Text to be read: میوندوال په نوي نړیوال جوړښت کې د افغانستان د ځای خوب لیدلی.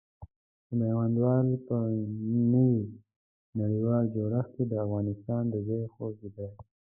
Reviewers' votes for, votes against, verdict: 1, 2, rejected